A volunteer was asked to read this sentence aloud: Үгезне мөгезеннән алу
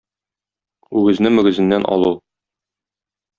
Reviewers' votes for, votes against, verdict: 2, 0, accepted